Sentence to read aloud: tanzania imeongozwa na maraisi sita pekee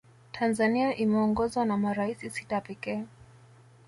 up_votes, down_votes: 2, 0